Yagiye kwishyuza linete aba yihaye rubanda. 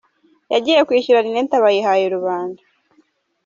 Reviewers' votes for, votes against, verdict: 1, 2, rejected